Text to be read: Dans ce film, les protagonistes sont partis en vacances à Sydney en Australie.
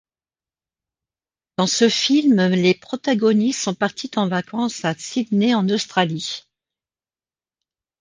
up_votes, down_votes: 2, 0